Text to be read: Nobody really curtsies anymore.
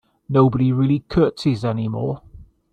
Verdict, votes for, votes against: accepted, 2, 0